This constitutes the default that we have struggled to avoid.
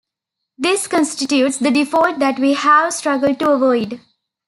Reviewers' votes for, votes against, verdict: 1, 2, rejected